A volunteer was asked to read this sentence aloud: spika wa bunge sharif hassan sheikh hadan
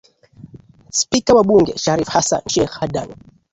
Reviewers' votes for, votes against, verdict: 12, 1, accepted